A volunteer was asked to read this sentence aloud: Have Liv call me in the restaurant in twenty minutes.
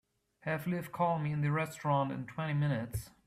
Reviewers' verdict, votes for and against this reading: accepted, 3, 0